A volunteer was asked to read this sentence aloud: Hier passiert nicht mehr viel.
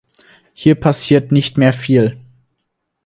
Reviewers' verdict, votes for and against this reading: accepted, 4, 0